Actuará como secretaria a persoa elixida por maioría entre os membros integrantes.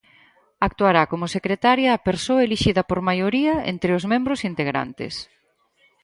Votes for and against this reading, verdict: 4, 0, accepted